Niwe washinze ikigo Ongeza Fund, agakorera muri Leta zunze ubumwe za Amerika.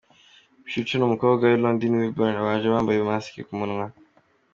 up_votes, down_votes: 0, 2